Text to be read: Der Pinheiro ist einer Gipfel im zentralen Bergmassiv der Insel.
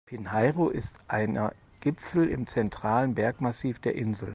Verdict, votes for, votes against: rejected, 0, 4